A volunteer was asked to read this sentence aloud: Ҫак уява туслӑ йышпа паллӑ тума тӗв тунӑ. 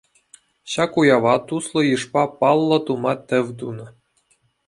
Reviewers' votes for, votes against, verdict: 2, 0, accepted